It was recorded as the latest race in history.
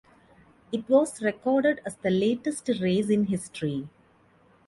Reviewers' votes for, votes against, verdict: 2, 0, accepted